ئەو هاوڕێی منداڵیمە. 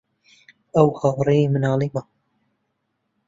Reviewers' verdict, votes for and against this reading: rejected, 1, 2